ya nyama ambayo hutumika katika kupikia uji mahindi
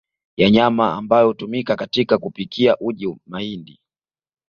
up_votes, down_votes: 2, 0